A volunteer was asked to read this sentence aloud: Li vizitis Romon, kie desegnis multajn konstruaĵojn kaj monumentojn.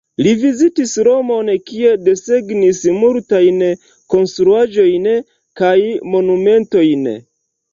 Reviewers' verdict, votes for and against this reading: rejected, 0, 2